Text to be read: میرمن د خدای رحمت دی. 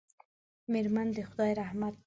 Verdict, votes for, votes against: rejected, 1, 2